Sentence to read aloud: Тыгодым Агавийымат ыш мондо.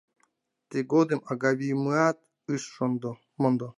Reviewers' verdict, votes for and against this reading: accepted, 2, 0